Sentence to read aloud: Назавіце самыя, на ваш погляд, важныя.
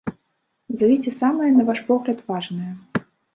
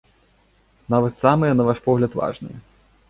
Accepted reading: first